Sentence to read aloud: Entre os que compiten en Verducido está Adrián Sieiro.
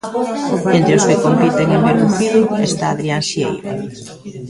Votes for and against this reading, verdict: 0, 2, rejected